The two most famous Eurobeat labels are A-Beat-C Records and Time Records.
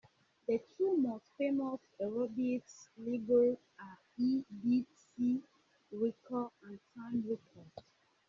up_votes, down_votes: 0, 2